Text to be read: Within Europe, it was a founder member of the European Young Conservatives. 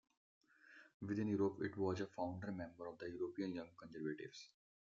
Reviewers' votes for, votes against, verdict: 2, 1, accepted